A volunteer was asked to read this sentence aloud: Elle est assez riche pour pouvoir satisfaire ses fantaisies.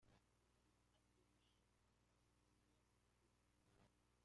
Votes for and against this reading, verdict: 0, 2, rejected